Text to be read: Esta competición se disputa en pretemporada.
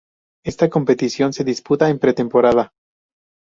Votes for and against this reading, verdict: 2, 0, accepted